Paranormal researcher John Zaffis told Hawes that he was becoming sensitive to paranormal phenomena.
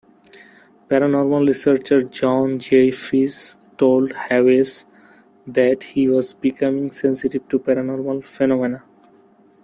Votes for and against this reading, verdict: 2, 0, accepted